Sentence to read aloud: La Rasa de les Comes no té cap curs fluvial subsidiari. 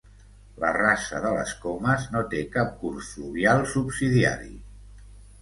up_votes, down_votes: 2, 0